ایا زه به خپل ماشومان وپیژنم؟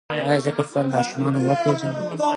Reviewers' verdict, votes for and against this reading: accepted, 2, 0